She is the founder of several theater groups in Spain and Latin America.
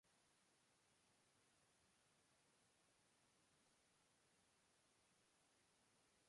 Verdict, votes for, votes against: rejected, 0, 2